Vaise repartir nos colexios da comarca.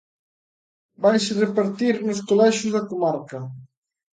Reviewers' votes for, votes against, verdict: 3, 0, accepted